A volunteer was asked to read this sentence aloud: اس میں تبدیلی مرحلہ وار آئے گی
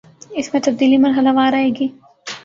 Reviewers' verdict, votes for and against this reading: accepted, 3, 0